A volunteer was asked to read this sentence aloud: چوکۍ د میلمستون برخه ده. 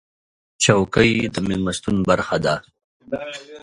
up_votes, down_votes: 2, 0